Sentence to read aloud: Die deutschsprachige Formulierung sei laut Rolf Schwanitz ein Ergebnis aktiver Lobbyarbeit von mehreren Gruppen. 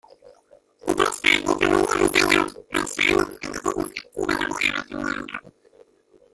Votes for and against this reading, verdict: 0, 2, rejected